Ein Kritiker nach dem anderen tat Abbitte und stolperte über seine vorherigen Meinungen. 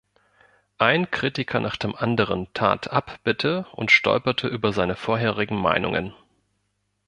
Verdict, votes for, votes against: accepted, 2, 0